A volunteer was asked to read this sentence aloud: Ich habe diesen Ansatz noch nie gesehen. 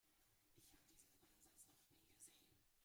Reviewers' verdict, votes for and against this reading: rejected, 0, 2